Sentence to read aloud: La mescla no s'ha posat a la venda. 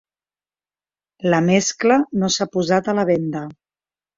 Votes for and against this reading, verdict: 3, 0, accepted